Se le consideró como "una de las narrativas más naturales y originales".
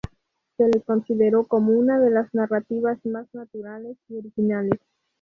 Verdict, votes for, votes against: accepted, 2, 0